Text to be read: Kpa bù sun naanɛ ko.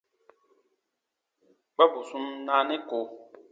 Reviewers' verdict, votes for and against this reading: accepted, 2, 0